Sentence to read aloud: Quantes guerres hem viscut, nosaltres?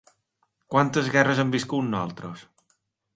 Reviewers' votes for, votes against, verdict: 2, 0, accepted